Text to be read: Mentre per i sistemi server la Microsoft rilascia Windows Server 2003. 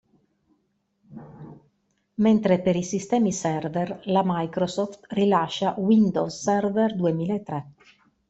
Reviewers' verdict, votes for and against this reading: rejected, 0, 2